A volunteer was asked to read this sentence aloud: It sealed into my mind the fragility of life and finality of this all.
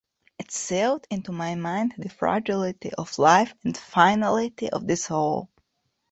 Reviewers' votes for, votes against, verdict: 1, 2, rejected